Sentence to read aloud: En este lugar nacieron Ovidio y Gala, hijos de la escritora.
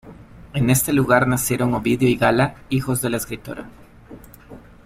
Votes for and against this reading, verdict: 2, 0, accepted